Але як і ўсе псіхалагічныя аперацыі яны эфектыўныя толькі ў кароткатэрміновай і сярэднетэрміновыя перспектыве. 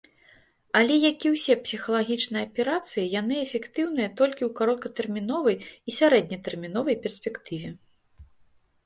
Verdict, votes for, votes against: rejected, 1, 2